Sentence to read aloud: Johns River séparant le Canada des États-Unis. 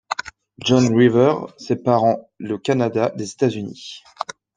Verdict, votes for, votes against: rejected, 1, 2